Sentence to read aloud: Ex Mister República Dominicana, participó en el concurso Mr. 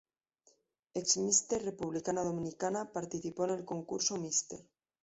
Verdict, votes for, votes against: rejected, 0, 2